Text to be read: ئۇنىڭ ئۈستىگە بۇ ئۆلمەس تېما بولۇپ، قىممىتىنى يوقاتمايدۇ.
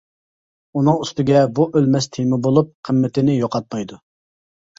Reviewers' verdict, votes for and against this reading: accepted, 2, 1